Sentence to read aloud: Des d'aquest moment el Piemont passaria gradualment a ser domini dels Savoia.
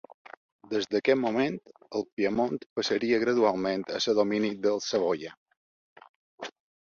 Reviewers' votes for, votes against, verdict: 3, 0, accepted